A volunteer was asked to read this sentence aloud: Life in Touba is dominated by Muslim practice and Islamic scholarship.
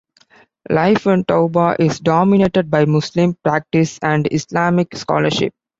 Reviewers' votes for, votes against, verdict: 2, 0, accepted